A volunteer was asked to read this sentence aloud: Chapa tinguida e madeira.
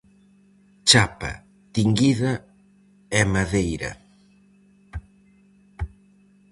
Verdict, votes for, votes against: accepted, 4, 0